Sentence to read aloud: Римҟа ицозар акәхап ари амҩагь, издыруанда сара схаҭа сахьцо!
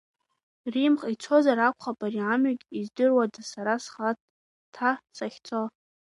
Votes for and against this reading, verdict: 1, 2, rejected